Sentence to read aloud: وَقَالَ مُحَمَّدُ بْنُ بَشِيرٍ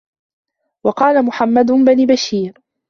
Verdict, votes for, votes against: rejected, 1, 2